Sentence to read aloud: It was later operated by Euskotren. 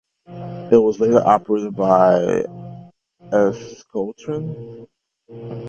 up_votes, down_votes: 2, 1